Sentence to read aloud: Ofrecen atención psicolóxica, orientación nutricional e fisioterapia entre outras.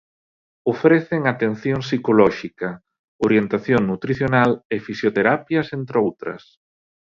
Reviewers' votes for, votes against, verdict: 0, 2, rejected